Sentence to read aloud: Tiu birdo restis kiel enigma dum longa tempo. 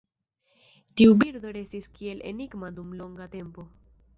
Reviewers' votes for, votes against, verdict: 1, 2, rejected